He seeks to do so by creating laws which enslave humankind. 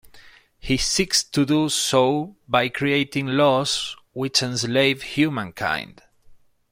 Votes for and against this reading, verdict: 2, 0, accepted